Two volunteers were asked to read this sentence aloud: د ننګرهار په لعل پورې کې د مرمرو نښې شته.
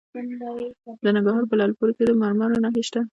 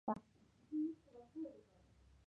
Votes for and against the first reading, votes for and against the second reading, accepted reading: 2, 1, 0, 2, first